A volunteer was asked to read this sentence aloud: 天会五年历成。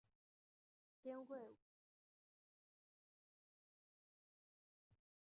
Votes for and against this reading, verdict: 0, 2, rejected